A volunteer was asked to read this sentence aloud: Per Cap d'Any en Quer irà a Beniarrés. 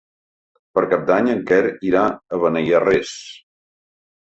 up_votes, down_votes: 2, 1